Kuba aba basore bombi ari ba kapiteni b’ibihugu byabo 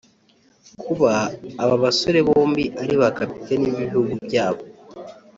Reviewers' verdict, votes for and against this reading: accepted, 2, 0